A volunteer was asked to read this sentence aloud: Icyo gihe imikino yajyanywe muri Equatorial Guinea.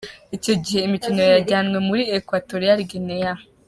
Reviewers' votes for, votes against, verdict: 1, 2, rejected